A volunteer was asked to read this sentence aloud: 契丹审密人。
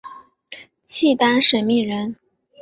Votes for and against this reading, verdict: 2, 0, accepted